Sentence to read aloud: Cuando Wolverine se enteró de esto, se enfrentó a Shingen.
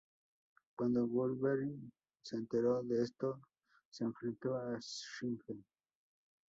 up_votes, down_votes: 0, 2